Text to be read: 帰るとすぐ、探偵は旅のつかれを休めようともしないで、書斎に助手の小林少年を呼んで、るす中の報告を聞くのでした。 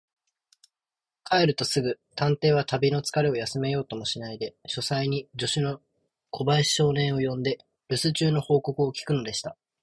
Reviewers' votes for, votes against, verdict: 2, 0, accepted